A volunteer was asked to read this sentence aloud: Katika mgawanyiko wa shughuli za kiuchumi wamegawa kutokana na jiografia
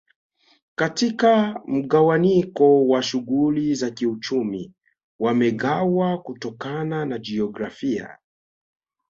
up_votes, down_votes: 3, 1